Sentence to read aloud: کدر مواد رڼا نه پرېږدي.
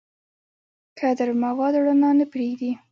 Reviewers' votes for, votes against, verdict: 1, 2, rejected